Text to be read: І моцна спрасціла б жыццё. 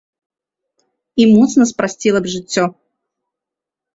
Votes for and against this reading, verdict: 2, 0, accepted